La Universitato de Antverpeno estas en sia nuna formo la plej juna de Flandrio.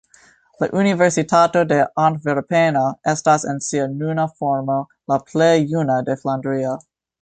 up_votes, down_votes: 1, 2